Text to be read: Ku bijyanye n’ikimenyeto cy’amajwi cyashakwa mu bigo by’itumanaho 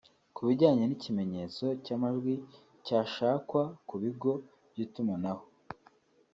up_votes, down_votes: 1, 2